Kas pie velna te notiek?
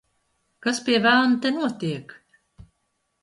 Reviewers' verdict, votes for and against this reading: accepted, 4, 0